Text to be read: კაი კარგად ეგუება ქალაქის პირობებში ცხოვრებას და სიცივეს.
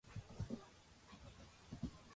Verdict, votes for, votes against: rejected, 0, 2